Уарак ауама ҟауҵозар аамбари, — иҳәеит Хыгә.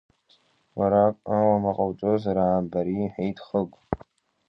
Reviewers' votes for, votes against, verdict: 2, 1, accepted